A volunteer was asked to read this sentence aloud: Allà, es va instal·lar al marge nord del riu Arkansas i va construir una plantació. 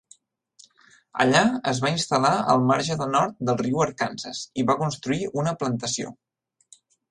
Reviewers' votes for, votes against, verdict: 1, 2, rejected